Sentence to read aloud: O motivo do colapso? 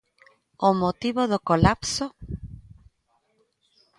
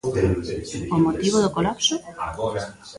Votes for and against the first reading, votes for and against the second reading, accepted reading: 2, 0, 1, 2, first